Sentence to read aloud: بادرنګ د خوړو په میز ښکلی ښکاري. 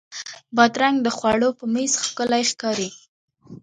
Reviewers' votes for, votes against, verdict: 0, 2, rejected